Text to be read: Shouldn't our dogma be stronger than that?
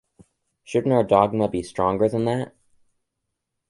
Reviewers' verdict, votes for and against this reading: accepted, 2, 1